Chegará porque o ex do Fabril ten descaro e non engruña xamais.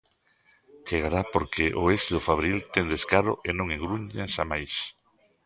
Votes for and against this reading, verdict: 0, 2, rejected